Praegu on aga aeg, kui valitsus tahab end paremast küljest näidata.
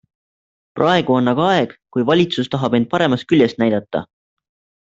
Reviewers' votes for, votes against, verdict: 2, 0, accepted